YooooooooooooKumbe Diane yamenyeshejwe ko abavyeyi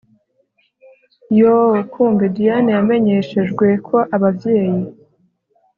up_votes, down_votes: 2, 0